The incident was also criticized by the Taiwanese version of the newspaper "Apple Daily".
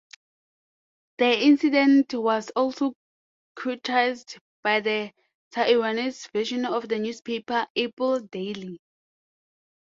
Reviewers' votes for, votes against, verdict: 0, 2, rejected